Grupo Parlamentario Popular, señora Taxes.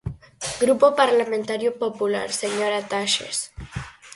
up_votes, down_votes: 4, 0